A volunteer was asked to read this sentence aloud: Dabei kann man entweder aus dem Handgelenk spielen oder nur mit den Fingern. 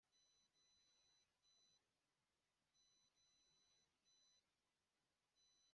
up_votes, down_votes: 0, 2